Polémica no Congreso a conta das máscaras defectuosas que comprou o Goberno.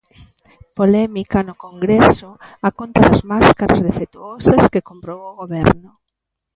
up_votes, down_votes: 2, 0